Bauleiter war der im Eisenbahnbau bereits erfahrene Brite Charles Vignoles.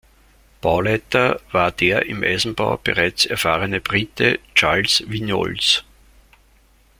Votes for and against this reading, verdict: 0, 2, rejected